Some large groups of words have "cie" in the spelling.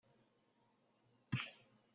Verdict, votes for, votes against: rejected, 0, 2